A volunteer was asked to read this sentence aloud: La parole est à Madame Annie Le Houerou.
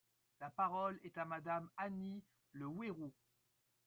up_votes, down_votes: 2, 0